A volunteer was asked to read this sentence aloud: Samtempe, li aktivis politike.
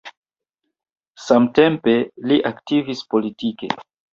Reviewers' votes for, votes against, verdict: 2, 0, accepted